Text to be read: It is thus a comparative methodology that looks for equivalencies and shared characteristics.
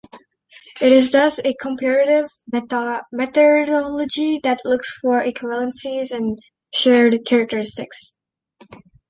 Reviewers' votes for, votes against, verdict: 0, 2, rejected